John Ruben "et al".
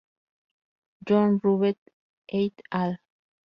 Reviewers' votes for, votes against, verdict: 0, 2, rejected